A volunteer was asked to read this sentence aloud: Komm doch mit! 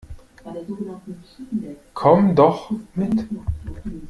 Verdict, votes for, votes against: rejected, 0, 2